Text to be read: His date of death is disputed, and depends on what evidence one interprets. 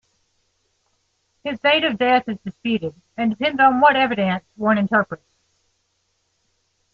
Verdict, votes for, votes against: rejected, 0, 2